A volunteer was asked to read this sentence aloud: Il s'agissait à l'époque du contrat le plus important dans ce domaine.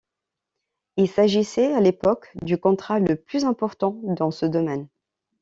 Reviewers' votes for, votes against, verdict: 2, 0, accepted